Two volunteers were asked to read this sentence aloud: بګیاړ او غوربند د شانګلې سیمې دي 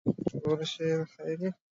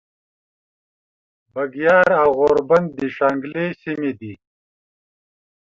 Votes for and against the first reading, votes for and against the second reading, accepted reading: 1, 5, 2, 0, second